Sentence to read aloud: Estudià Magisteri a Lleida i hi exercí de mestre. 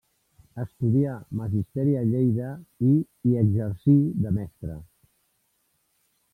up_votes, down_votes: 0, 2